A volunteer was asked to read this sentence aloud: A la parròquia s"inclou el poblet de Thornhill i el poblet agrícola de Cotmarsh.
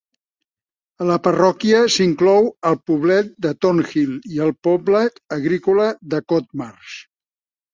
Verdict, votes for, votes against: rejected, 1, 2